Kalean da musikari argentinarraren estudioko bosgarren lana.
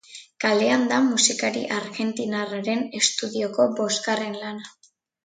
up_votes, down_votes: 2, 0